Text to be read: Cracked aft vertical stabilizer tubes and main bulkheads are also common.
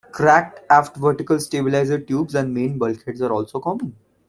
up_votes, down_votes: 2, 0